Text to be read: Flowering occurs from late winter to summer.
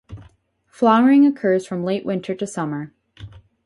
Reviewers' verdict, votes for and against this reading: accepted, 4, 0